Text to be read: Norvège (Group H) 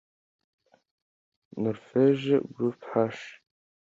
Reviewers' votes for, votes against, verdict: 2, 0, accepted